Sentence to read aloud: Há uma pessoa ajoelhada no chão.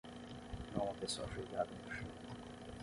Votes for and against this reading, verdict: 3, 3, rejected